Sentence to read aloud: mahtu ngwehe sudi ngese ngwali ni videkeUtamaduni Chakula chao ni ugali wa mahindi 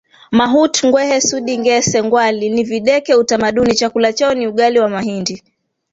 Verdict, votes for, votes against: rejected, 1, 2